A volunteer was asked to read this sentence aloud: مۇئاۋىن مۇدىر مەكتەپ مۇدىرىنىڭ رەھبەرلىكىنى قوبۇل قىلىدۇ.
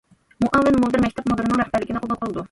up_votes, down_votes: 1, 2